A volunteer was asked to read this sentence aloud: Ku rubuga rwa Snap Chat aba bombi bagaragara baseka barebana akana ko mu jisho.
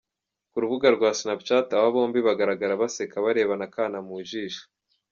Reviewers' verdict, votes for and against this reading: rejected, 0, 2